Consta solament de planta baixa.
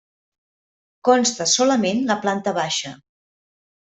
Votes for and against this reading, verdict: 0, 2, rejected